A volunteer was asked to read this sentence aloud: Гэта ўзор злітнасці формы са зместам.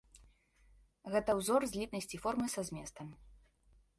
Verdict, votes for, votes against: accepted, 2, 0